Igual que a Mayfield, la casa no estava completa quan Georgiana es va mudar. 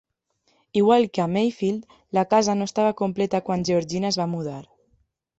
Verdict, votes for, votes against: accepted, 2, 1